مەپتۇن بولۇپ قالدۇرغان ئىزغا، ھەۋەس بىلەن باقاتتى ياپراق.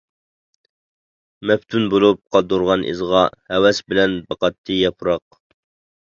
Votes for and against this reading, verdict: 2, 0, accepted